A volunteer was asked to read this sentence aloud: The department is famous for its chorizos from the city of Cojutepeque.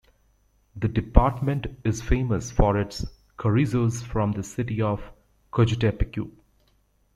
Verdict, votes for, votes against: rejected, 1, 2